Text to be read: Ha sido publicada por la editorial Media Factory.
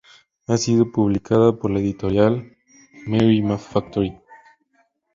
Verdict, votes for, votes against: rejected, 0, 2